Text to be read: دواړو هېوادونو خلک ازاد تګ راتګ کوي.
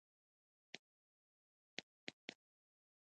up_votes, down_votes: 1, 2